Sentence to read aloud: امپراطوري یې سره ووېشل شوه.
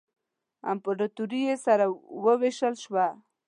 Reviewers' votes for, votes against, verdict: 2, 0, accepted